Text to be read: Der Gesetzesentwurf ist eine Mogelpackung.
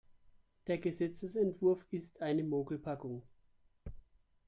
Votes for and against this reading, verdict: 2, 3, rejected